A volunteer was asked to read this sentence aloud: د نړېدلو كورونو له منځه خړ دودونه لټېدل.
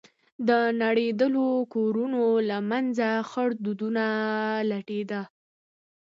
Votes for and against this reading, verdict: 2, 0, accepted